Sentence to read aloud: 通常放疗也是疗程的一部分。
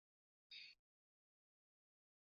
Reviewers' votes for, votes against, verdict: 0, 2, rejected